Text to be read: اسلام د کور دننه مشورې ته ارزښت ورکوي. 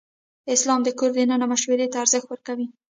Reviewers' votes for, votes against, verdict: 0, 2, rejected